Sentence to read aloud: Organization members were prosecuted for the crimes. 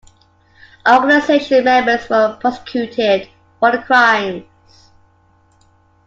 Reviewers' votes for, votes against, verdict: 2, 1, accepted